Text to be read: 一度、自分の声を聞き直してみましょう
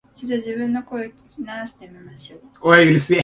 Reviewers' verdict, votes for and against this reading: rejected, 0, 2